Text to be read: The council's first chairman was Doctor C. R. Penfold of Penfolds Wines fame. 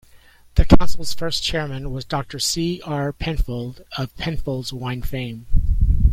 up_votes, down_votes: 1, 2